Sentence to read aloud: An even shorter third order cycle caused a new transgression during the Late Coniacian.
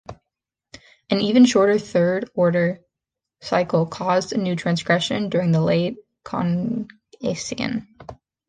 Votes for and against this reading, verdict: 0, 2, rejected